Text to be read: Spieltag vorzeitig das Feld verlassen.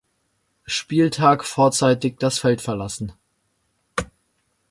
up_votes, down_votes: 2, 0